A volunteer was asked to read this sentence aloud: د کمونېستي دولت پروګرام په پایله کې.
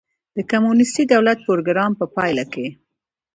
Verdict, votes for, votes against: rejected, 1, 2